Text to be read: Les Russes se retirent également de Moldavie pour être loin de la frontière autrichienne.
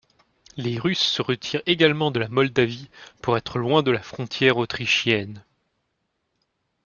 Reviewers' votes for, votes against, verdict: 1, 2, rejected